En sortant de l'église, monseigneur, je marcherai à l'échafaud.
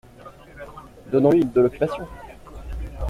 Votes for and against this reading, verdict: 0, 2, rejected